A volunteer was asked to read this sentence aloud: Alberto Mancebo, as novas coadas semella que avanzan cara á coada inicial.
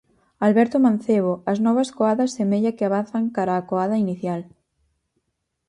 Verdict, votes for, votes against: accepted, 4, 0